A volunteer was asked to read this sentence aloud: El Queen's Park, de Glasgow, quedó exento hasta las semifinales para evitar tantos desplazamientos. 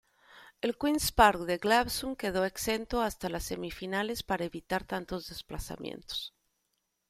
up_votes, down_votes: 1, 2